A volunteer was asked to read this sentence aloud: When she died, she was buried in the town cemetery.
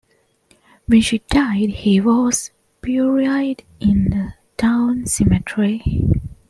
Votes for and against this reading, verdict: 1, 2, rejected